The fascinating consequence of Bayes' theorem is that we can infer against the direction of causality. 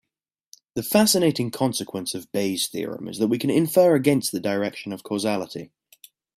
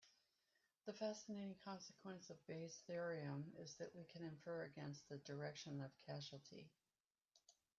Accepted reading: first